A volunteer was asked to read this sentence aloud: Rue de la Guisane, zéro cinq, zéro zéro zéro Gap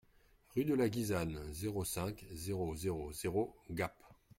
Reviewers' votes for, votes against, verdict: 2, 0, accepted